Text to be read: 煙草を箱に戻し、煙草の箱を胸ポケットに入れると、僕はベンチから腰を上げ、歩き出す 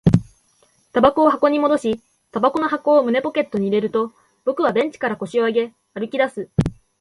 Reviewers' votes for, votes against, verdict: 2, 0, accepted